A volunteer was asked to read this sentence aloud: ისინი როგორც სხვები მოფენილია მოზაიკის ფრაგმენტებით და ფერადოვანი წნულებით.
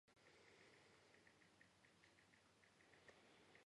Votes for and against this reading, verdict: 0, 2, rejected